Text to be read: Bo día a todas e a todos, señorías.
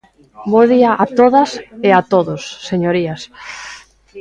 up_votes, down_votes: 1, 2